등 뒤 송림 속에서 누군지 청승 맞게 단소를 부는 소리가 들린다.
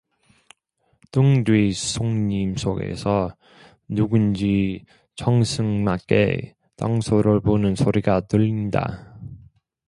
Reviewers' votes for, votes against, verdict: 2, 1, accepted